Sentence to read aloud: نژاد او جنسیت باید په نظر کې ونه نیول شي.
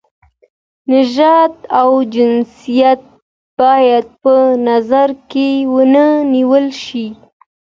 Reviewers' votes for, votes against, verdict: 2, 1, accepted